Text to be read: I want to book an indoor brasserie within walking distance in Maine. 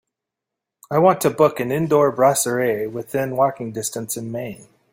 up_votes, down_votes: 2, 0